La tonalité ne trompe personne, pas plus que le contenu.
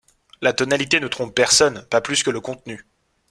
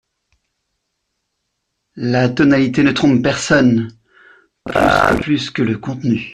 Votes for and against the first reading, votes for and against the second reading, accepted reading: 2, 0, 0, 2, first